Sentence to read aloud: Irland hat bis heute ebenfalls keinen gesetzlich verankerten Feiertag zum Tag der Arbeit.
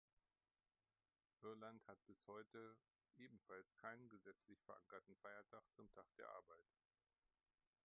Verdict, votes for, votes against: rejected, 1, 2